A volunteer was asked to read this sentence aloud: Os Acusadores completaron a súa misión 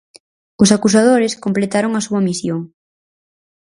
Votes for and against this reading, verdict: 4, 0, accepted